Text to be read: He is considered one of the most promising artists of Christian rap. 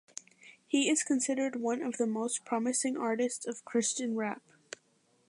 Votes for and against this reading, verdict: 2, 0, accepted